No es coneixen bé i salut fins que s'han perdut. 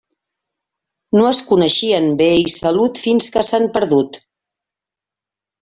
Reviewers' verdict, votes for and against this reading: rejected, 1, 2